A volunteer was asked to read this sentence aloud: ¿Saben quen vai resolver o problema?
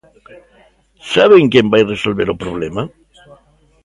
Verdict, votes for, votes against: accepted, 2, 0